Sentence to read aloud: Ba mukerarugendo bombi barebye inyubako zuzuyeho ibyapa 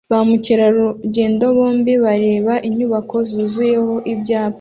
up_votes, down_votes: 2, 0